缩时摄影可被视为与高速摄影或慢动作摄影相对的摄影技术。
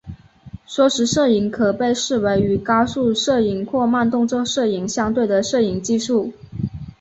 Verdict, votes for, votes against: accepted, 2, 1